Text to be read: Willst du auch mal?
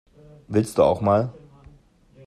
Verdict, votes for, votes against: accepted, 2, 0